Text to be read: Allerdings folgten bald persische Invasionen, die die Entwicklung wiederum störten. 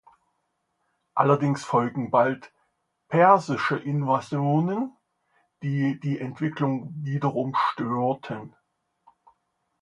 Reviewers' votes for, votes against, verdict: 2, 0, accepted